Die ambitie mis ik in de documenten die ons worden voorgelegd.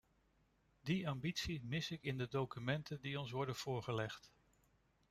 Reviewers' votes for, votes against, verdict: 2, 0, accepted